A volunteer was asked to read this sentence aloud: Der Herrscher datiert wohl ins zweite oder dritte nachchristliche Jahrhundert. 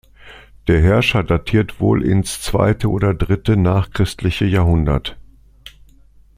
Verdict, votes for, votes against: accepted, 2, 0